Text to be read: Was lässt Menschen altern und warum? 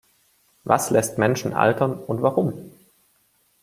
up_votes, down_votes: 2, 1